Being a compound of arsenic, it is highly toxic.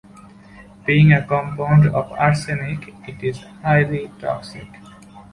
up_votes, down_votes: 3, 2